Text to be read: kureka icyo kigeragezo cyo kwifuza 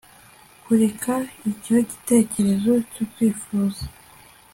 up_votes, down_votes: 2, 1